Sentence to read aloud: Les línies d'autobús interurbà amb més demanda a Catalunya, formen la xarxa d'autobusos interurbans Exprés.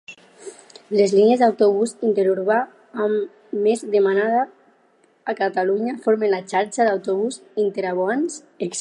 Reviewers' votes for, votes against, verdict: 0, 4, rejected